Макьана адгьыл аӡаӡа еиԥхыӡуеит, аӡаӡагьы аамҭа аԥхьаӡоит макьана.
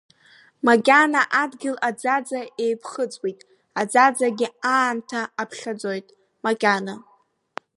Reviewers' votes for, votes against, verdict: 2, 3, rejected